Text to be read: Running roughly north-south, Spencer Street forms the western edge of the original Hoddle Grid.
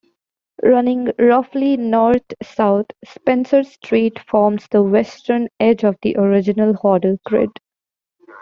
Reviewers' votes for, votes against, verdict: 2, 1, accepted